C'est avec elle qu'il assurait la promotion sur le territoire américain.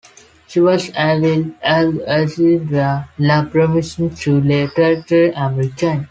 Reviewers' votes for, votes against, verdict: 1, 2, rejected